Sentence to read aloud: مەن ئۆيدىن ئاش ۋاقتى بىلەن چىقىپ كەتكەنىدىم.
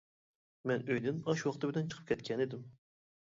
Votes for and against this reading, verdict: 1, 2, rejected